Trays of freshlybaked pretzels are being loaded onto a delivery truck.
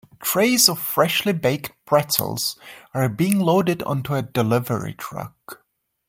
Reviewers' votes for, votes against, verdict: 2, 0, accepted